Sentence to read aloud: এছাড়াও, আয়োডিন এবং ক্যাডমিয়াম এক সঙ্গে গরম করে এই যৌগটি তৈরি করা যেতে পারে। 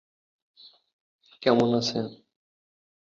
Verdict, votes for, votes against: rejected, 0, 2